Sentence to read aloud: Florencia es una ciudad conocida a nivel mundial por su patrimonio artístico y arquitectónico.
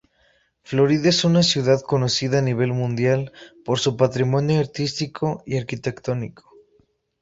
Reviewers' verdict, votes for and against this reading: accepted, 2, 0